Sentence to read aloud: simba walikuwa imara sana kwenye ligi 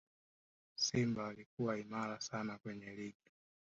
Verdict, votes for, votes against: rejected, 0, 2